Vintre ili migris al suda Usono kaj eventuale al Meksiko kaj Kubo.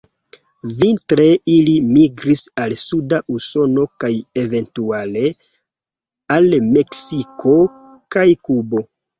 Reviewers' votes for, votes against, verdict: 2, 0, accepted